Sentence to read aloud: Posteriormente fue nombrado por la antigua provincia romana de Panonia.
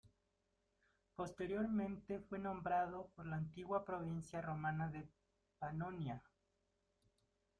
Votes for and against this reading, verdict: 2, 0, accepted